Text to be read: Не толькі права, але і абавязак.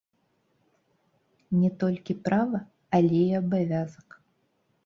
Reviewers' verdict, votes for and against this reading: rejected, 1, 2